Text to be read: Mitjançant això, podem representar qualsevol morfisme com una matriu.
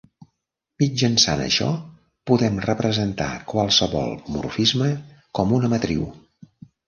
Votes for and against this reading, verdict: 2, 0, accepted